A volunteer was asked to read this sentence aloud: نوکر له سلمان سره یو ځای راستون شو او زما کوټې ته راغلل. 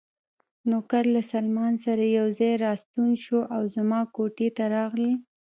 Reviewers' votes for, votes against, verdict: 2, 1, accepted